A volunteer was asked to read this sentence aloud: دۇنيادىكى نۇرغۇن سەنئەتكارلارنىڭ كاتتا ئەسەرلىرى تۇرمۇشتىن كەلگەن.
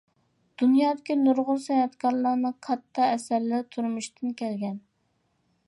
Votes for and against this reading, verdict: 2, 0, accepted